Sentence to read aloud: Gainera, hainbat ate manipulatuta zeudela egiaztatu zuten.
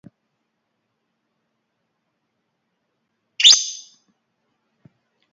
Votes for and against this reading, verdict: 0, 2, rejected